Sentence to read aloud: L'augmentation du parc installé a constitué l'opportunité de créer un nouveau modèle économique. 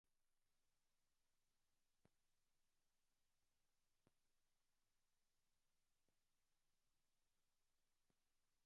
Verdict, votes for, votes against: rejected, 0, 2